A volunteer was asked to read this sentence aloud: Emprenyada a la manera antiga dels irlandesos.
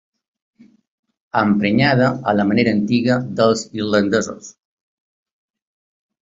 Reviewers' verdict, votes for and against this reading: accepted, 2, 0